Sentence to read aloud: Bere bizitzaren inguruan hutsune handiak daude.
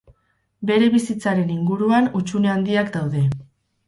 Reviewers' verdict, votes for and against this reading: rejected, 2, 2